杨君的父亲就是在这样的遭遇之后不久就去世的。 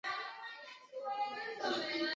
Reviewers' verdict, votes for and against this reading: rejected, 2, 5